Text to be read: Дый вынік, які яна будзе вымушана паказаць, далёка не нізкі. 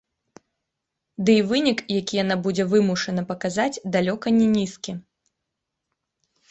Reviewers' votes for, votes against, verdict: 2, 0, accepted